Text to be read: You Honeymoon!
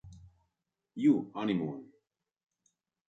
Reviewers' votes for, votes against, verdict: 2, 0, accepted